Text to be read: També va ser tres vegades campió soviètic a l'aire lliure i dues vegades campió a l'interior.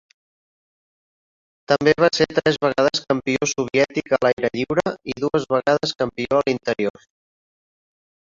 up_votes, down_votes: 2, 3